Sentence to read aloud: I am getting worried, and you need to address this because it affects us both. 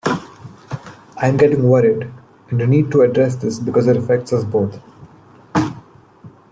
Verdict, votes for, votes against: rejected, 0, 2